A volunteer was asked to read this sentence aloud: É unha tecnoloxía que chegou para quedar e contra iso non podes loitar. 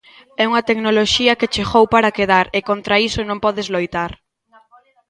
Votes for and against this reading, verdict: 2, 0, accepted